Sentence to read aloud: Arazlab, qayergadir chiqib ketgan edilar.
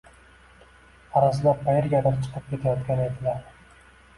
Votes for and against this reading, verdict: 2, 0, accepted